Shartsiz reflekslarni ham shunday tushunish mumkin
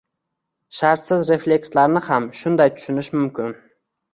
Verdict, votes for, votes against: accepted, 2, 0